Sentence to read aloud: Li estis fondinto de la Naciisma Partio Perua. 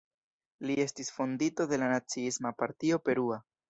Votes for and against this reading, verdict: 2, 0, accepted